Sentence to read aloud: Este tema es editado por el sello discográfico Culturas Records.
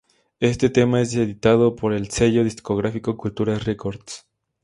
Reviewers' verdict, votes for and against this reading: rejected, 0, 2